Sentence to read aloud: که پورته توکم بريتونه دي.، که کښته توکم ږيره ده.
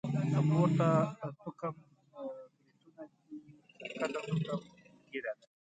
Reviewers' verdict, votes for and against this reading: rejected, 0, 2